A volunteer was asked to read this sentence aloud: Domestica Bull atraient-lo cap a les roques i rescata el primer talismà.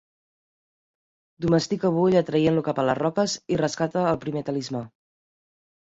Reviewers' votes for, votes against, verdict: 1, 2, rejected